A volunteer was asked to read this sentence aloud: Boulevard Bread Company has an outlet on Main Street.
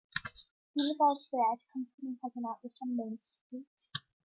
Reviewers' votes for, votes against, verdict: 0, 2, rejected